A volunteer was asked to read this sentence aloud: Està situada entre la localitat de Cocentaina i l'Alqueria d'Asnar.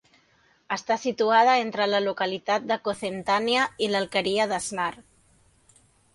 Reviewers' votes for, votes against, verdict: 0, 2, rejected